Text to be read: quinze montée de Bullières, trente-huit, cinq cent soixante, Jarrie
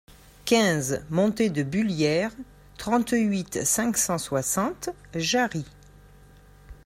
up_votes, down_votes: 2, 0